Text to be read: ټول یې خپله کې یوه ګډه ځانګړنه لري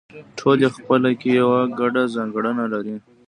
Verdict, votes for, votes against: rejected, 1, 2